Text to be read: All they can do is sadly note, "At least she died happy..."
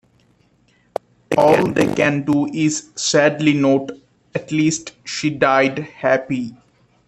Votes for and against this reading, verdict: 1, 2, rejected